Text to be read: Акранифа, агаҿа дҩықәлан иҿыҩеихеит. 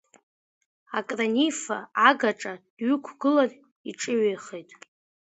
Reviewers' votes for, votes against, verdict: 2, 1, accepted